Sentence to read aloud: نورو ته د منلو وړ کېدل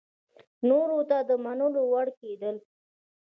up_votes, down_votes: 2, 0